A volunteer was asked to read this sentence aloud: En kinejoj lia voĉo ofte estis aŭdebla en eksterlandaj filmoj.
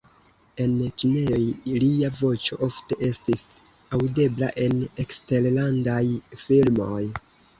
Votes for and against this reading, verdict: 0, 2, rejected